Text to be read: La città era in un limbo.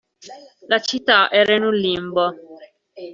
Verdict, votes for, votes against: accepted, 2, 1